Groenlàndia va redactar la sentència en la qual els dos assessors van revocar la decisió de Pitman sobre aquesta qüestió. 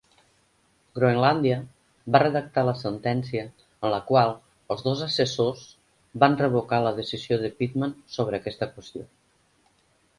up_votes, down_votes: 4, 0